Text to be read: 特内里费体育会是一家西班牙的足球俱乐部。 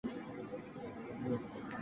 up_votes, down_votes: 0, 4